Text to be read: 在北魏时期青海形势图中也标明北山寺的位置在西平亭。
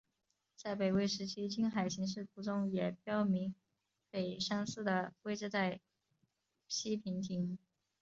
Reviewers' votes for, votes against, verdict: 6, 0, accepted